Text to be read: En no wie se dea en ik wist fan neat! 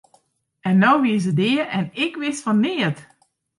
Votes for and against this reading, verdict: 2, 0, accepted